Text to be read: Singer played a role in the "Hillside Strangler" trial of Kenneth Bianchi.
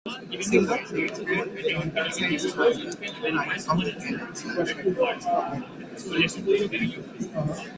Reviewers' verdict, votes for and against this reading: rejected, 0, 2